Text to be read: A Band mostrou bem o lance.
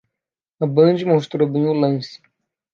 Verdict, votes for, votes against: accepted, 2, 0